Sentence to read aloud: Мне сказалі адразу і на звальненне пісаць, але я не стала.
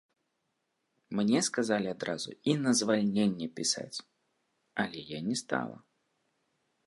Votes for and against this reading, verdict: 1, 2, rejected